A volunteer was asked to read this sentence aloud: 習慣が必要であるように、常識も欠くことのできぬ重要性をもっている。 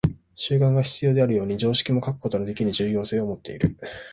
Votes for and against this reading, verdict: 2, 1, accepted